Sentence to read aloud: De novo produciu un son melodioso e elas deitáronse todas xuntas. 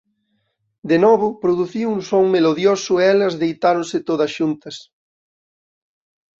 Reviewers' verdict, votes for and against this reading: accepted, 2, 0